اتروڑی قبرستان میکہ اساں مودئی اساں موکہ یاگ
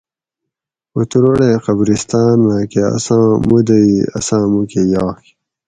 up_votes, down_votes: 2, 2